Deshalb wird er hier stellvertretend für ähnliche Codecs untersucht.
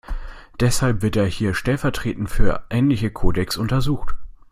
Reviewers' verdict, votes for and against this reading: accepted, 2, 0